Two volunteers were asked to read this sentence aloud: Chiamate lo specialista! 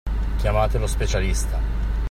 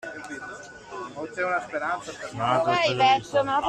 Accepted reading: first